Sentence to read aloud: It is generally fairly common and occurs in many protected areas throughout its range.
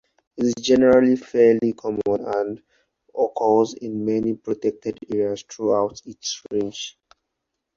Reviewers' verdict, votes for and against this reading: accepted, 4, 0